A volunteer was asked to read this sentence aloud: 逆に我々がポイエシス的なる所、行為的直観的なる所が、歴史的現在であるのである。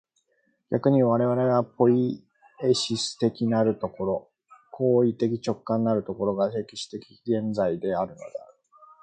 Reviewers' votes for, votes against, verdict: 1, 2, rejected